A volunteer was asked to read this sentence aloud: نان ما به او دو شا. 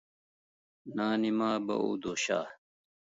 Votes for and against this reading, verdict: 1, 2, rejected